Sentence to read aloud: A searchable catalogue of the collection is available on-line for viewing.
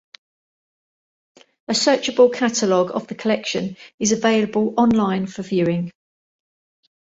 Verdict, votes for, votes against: accepted, 2, 0